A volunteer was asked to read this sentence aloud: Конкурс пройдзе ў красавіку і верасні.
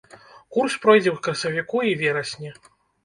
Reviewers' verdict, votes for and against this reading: rejected, 1, 2